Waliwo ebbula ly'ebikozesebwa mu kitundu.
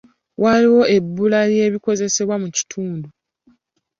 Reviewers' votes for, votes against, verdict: 2, 0, accepted